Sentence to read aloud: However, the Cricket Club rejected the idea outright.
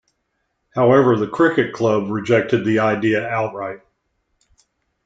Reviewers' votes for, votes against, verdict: 2, 0, accepted